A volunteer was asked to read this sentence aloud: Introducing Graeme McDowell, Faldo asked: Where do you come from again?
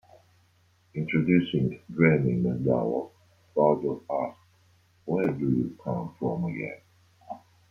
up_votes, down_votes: 1, 2